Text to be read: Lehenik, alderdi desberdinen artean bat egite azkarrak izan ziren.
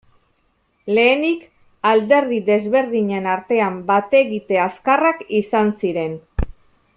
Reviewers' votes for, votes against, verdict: 4, 0, accepted